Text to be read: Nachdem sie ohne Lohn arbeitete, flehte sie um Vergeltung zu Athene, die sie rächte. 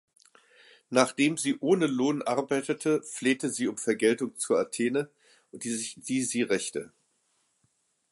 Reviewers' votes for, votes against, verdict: 1, 2, rejected